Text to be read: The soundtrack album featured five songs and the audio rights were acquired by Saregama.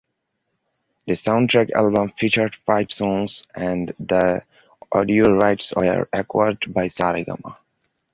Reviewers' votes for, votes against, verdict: 2, 1, accepted